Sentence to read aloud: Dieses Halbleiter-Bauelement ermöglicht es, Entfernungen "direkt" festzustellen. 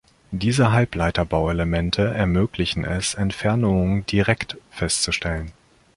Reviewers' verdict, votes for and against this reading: rejected, 0, 2